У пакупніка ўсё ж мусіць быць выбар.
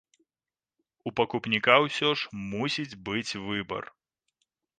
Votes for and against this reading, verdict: 3, 0, accepted